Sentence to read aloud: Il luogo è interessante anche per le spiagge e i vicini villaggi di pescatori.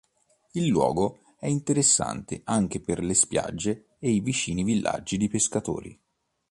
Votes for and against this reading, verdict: 2, 0, accepted